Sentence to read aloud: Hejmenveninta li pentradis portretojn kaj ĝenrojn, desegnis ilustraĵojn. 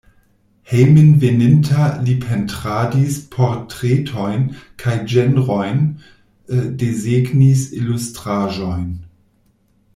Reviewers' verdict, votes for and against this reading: rejected, 0, 2